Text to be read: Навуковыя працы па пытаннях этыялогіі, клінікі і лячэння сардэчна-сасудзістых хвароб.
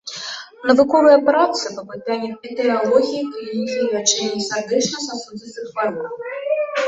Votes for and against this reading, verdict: 0, 2, rejected